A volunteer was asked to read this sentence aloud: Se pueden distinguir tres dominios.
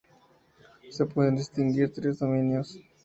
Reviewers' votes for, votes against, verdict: 2, 0, accepted